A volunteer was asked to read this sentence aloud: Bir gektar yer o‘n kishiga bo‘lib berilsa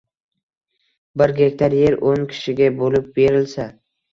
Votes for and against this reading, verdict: 2, 0, accepted